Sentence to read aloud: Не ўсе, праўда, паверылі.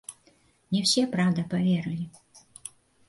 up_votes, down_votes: 1, 2